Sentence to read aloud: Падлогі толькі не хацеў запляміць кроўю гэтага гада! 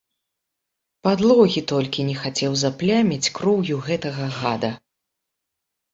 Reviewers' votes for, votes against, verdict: 3, 0, accepted